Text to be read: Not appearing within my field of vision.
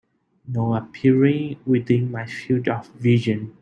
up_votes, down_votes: 0, 3